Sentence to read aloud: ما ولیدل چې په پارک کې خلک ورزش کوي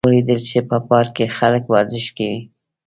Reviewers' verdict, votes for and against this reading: accepted, 2, 0